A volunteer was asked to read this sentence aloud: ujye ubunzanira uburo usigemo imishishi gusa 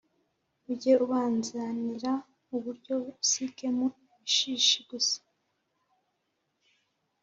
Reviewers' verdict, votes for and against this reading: rejected, 0, 2